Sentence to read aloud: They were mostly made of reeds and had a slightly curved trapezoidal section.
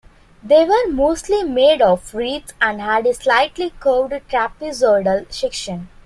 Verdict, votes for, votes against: accepted, 2, 1